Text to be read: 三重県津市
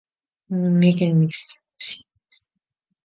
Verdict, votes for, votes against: rejected, 1, 2